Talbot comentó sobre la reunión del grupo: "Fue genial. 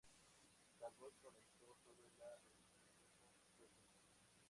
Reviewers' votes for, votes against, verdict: 0, 2, rejected